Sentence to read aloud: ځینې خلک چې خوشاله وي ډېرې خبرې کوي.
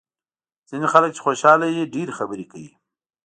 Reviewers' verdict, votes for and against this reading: accepted, 2, 0